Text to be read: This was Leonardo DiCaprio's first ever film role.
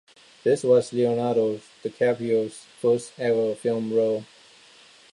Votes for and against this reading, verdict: 2, 1, accepted